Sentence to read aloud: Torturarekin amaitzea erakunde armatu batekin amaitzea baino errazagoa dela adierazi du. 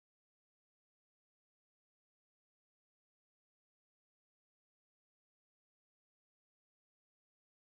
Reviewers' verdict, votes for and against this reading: rejected, 0, 2